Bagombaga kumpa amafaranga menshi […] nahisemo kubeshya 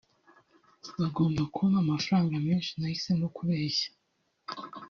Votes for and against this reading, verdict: 1, 2, rejected